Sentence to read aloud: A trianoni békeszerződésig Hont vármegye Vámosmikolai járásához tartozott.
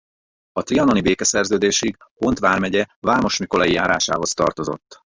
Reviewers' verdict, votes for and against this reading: rejected, 0, 4